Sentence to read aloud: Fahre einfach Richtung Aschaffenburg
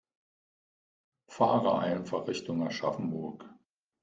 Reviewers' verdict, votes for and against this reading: rejected, 0, 2